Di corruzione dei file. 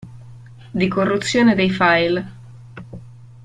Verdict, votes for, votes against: accepted, 2, 0